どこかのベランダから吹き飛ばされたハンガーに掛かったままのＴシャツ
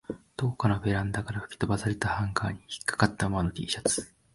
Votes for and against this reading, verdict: 0, 2, rejected